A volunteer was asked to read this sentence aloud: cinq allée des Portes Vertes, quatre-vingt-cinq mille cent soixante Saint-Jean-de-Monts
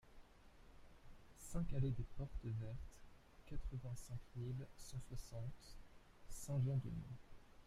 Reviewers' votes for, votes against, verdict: 0, 2, rejected